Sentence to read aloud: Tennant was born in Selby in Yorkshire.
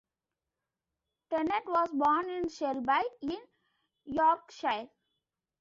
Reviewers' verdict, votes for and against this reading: rejected, 1, 2